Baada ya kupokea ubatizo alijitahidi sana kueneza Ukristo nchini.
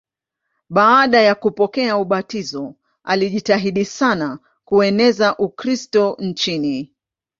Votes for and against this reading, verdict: 2, 0, accepted